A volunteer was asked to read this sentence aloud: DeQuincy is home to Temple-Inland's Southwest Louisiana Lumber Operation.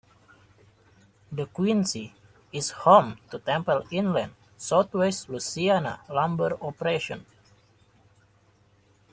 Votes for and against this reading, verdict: 2, 0, accepted